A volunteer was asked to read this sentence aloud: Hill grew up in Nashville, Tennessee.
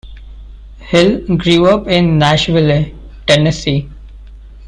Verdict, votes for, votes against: rejected, 1, 2